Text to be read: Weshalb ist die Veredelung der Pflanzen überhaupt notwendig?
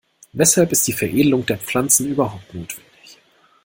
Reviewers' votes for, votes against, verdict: 2, 0, accepted